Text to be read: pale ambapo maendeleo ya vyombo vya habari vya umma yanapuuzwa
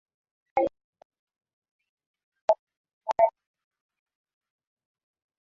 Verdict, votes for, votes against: rejected, 1, 6